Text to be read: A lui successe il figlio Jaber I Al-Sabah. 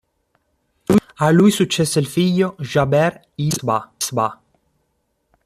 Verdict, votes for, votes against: rejected, 1, 2